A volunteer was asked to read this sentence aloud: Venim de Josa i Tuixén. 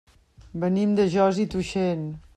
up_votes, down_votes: 2, 0